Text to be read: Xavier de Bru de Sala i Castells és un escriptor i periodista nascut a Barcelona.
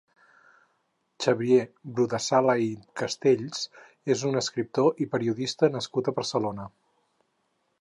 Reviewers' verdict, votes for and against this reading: rejected, 0, 4